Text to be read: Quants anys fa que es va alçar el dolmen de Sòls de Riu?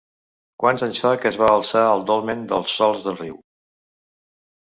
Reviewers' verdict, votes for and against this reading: rejected, 0, 2